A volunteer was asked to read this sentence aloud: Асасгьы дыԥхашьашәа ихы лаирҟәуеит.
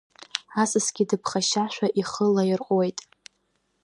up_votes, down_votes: 1, 2